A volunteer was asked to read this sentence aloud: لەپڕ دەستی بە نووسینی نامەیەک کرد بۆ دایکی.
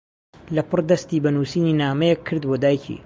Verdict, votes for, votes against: accepted, 2, 0